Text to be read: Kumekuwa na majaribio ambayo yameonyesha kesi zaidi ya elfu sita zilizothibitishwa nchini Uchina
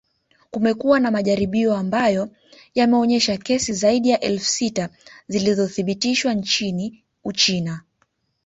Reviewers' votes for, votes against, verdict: 0, 2, rejected